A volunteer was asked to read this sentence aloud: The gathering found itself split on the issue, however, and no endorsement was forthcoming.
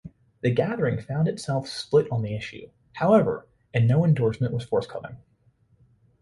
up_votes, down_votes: 2, 0